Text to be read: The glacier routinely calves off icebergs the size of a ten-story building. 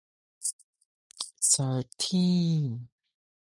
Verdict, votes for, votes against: rejected, 0, 2